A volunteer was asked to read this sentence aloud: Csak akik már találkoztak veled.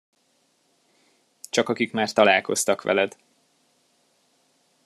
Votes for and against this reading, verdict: 2, 0, accepted